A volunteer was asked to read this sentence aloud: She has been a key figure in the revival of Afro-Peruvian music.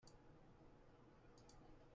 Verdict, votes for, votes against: rejected, 0, 2